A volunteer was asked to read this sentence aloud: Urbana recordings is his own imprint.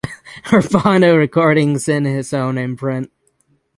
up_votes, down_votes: 0, 6